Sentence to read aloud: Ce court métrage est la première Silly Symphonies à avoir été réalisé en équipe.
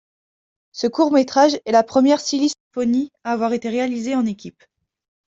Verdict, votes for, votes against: accepted, 2, 1